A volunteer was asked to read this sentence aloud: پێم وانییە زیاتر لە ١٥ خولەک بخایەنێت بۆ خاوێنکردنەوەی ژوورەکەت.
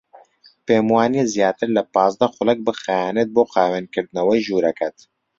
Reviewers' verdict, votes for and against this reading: rejected, 0, 2